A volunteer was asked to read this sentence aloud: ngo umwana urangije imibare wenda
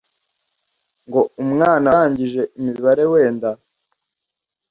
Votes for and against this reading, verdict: 1, 2, rejected